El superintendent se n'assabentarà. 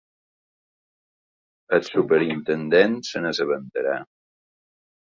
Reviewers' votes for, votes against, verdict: 2, 0, accepted